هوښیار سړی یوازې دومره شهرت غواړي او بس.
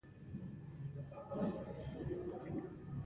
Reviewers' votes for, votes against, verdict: 1, 2, rejected